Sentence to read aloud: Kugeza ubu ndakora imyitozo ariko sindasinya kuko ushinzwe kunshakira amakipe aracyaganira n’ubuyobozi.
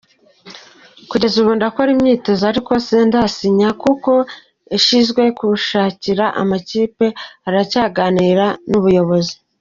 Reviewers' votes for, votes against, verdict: 1, 2, rejected